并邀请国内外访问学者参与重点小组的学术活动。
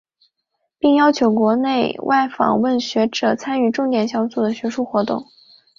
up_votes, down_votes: 3, 0